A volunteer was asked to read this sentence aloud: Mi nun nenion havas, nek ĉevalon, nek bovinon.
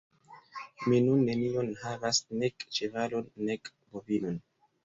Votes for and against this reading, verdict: 3, 0, accepted